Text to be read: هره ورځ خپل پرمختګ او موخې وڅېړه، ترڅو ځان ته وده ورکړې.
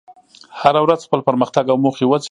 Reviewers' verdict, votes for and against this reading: rejected, 0, 2